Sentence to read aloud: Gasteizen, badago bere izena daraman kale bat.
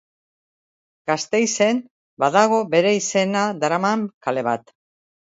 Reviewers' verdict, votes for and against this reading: accepted, 3, 0